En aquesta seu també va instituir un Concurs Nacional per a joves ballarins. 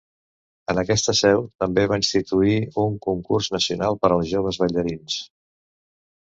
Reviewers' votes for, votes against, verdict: 0, 2, rejected